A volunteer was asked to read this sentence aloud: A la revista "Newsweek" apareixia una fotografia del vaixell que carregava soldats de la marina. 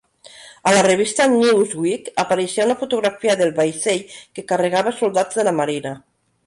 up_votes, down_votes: 1, 2